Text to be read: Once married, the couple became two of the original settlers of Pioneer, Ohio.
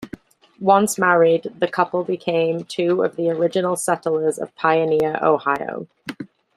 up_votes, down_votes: 2, 0